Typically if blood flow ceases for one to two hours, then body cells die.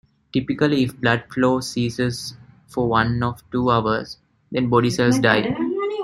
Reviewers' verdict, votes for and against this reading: rejected, 1, 2